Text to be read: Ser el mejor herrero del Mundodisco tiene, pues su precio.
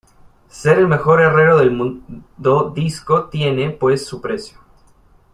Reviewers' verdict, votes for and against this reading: rejected, 1, 2